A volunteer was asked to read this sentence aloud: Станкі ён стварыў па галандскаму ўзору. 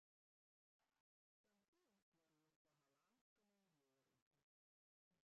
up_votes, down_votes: 0, 2